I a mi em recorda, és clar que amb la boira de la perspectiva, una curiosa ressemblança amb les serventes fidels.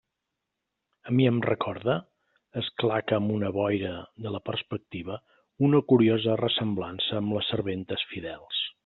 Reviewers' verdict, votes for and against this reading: rejected, 0, 2